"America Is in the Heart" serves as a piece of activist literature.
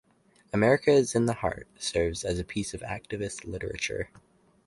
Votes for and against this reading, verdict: 4, 0, accepted